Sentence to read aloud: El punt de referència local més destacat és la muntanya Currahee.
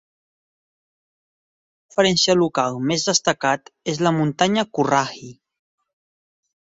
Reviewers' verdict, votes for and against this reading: rejected, 0, 6